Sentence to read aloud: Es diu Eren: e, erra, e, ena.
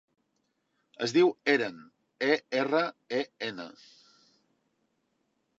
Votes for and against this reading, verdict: 2, 0, accepted